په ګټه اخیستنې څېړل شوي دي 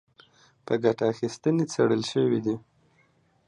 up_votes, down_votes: 2, 0